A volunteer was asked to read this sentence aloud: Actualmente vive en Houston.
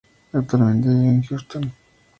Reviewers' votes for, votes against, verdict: 0, 2, rejected